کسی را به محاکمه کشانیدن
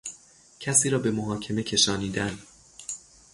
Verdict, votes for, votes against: rejected, 3, 3